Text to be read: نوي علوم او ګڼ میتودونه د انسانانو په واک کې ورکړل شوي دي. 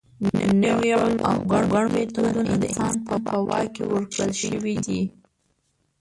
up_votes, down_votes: 0, 2